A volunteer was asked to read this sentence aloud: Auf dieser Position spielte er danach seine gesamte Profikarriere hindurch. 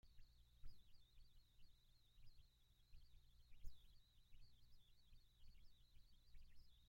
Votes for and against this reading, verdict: 0, 2, rejected